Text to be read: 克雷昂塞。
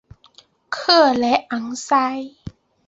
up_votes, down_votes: 2, 0